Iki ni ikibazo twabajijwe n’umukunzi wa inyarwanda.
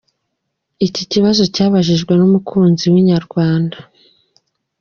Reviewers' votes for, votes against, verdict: 1, 2, rejected